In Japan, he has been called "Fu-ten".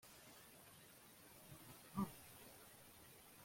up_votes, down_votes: 0, 2